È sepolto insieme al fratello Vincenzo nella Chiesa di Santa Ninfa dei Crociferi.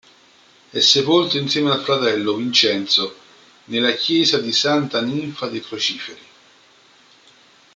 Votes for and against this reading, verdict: 2, 0, accepted